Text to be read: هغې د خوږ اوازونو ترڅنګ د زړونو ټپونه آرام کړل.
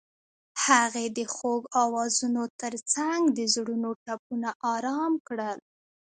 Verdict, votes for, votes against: accepted, 2, 0